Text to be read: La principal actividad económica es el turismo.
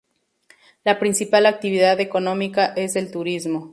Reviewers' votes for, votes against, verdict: 0, 2, rejected